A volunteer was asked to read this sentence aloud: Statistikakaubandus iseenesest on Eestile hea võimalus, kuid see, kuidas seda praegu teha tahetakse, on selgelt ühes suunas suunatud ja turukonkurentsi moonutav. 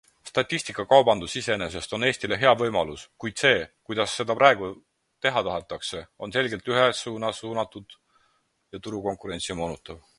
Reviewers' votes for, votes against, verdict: 4, 0, accepted